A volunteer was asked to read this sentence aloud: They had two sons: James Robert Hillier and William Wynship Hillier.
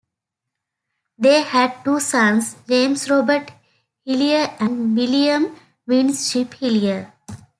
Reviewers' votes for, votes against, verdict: 2, 0, accepted